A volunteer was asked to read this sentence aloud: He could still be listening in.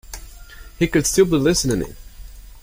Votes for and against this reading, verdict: 0, 2, rejected